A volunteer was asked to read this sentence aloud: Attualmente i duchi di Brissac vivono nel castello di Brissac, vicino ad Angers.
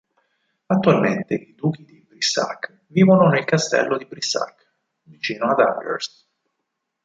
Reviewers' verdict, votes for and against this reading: rejected, 0, 4